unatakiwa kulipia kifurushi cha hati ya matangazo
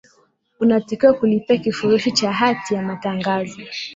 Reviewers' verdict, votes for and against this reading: accepted, 4, 0